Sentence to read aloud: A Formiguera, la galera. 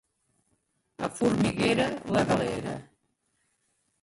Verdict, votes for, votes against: rejected, 1, 2